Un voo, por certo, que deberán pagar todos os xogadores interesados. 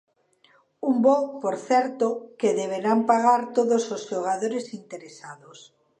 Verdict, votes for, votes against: accepted, 3, 0